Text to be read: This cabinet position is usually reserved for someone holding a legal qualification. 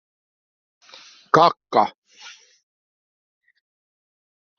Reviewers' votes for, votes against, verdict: 0, 2, rejected